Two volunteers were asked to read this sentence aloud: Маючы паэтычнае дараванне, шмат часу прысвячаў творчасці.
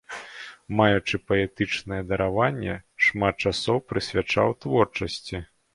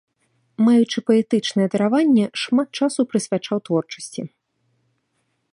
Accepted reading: second